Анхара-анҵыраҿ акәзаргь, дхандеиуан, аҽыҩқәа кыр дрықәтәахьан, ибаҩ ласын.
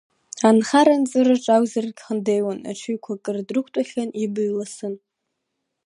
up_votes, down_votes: 1, 2